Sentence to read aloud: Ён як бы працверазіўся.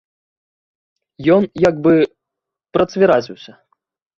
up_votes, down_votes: 0, 2